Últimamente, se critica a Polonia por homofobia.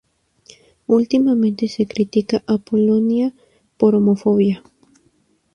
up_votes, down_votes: 2, 0